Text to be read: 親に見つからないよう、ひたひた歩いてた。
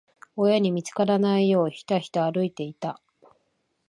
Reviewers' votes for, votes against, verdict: 2, 1, accepted